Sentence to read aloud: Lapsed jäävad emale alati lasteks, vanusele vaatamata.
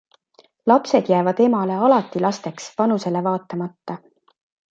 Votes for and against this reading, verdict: 2, 0, accepted